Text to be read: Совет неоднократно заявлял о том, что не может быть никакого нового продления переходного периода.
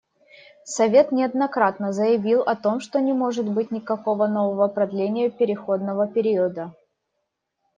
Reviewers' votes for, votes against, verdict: 1, 2, rejected